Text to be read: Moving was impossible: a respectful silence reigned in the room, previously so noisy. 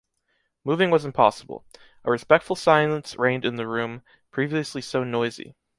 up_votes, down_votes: 2, 0